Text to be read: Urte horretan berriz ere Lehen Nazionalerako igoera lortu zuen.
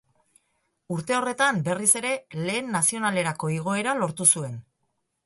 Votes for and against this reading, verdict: 2, 0, accepted